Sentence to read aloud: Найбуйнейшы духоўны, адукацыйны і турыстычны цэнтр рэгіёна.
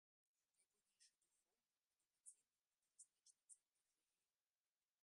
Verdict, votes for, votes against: rejected, 0, 3